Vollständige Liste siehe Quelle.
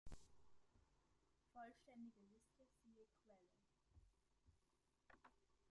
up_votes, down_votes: 1, 2